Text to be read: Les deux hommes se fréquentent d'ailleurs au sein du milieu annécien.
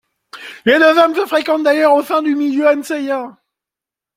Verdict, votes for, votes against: rejected, 0, 2